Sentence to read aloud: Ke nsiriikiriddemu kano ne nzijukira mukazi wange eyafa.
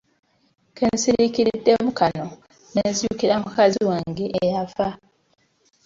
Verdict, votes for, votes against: accepted, 2, 0